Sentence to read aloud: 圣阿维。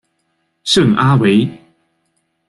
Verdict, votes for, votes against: accepted, 2, 0